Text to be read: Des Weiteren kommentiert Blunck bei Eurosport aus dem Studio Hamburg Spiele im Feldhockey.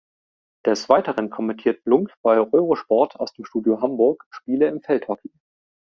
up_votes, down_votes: 1, 2